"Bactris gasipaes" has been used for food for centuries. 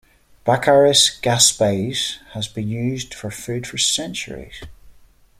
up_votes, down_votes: 1, 2